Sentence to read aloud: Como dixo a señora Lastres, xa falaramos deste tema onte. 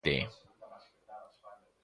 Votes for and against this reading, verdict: 0, 2, rejected